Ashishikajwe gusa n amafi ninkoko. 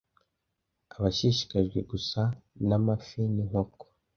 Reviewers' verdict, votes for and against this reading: rejected, 0, 2